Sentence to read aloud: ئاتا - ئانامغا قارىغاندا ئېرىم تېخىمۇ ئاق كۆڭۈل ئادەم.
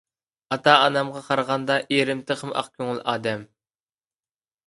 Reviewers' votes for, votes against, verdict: 2, 0, accepted